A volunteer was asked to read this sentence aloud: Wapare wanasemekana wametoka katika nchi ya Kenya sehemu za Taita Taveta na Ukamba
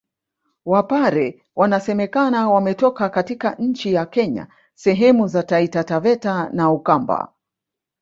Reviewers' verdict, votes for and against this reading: accepted, 2, 1